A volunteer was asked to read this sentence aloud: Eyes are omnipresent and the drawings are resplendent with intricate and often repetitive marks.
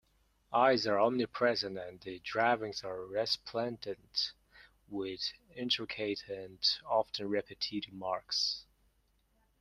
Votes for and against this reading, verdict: 0, 2, rejected